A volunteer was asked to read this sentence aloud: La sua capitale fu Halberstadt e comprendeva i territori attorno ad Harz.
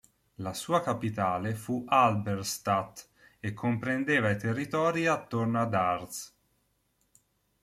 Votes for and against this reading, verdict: 2, 0, accepted